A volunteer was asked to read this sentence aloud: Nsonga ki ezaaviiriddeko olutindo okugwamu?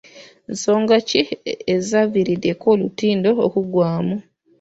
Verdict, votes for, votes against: rejected, 0, 2